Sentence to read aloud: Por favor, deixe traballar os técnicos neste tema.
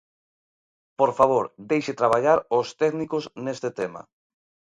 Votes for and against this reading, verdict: 2, 0, accepted